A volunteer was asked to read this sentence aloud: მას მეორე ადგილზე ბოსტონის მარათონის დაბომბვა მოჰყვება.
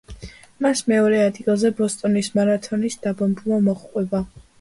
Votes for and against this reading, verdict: 1, 2, rejected